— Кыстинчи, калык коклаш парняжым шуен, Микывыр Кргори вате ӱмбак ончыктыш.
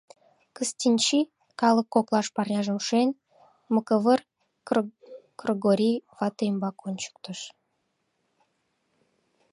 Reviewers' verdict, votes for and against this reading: rejected, 0, 2